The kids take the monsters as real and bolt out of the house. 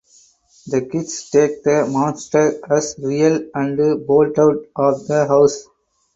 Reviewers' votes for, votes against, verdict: 0, 4, rejected